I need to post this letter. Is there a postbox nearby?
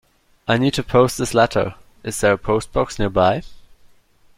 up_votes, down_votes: 2, 0